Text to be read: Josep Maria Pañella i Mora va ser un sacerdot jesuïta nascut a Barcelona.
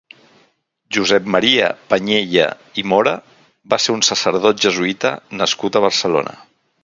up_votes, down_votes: 4, 0